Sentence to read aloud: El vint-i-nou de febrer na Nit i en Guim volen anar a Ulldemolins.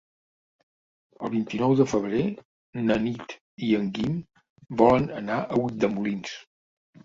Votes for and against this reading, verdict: 2, 0, accepted